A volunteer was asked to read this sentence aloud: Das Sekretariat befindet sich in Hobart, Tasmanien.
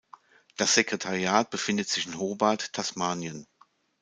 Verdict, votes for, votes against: accepted, 2, 0